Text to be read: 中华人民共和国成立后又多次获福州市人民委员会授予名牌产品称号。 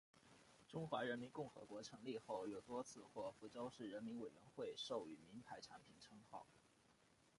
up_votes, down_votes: 0, 2